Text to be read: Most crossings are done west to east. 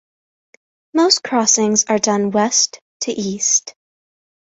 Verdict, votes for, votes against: accepted, 2, 0